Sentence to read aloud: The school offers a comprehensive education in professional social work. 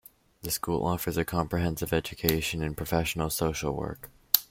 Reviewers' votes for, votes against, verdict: 2, 0, accepted